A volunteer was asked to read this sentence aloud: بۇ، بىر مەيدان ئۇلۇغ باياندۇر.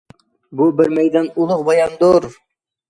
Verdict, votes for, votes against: accepted, 2, 0